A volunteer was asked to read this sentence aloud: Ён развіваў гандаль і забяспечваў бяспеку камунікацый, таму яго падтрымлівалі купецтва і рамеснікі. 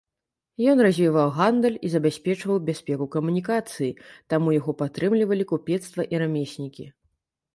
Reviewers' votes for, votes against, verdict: 2, 0, accepted